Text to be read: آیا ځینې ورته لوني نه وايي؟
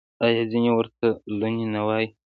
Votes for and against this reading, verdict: 2, 1, accepted